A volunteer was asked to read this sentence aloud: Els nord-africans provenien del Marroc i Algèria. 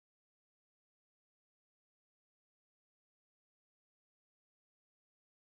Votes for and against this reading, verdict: 0, 2, rejected